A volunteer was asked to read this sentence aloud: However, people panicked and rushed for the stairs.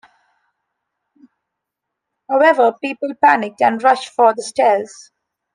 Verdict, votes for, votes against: accepted, 2, 0